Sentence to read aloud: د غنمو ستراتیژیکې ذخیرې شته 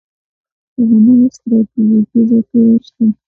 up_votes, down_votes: 1, 2